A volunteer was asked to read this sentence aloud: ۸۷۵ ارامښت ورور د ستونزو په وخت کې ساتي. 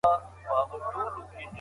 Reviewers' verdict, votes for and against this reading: rejected, 0, 2